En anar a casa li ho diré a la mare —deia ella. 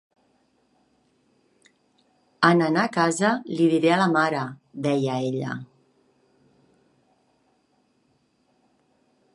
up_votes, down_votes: 1, 5